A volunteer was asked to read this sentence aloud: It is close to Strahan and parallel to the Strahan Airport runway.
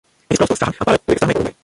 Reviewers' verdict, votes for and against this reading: rejected, 0, 2